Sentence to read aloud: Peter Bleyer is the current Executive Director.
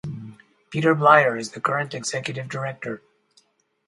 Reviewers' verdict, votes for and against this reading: accepted, 4, 0